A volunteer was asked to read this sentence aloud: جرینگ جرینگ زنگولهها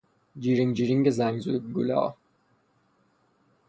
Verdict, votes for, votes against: rejected, 0, 3